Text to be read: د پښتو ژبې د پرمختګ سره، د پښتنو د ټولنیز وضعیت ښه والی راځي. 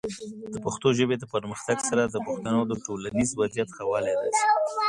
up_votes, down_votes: 2, 0